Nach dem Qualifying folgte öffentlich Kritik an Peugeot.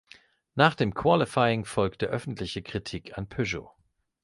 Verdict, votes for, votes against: rejected, 1, 2